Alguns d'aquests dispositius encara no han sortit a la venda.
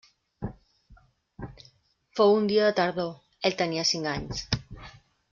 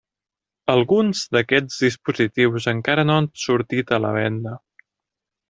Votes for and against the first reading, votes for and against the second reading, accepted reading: 0, 2, 3, 0, second